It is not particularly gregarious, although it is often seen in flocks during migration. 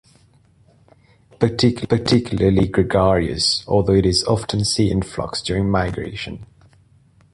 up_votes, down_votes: 0, 2